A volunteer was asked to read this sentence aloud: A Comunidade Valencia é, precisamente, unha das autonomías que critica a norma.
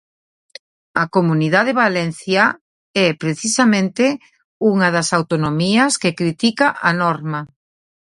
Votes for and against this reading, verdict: 0, 2, rejected